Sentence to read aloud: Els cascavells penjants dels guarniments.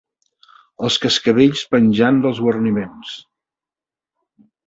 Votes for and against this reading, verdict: 1, 2, rejected